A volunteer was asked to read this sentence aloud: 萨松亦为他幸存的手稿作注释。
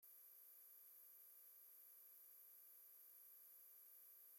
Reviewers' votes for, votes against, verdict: 0, 2, rejected